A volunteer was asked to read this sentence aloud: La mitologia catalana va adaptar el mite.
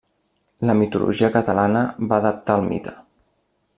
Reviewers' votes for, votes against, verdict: 2, 0, accepted